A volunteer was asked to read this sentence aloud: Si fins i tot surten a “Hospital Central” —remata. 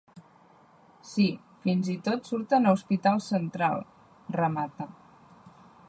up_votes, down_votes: 2, 0